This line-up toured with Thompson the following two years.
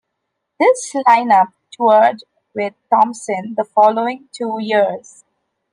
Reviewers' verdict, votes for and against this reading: accepted, 2, 0